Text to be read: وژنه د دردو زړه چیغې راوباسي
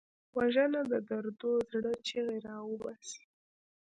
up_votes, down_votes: 1, 2